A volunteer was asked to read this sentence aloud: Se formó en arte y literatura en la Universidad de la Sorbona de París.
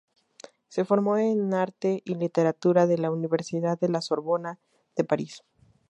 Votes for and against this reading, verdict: 0, 2, rejected